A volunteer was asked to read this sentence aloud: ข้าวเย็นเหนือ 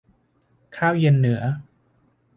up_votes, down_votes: 2, 0